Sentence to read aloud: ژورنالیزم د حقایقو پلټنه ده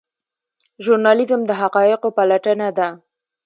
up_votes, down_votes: 2, 0